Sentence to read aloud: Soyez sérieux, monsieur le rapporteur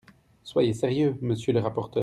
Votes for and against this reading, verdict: 1, 2, rejected